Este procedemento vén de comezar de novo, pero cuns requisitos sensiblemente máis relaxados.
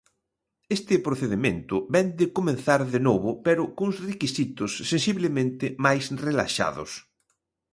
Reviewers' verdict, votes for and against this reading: rejected, 1, 2